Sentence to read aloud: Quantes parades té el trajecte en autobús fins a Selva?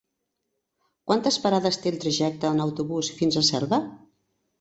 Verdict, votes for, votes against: accepted, 3, 0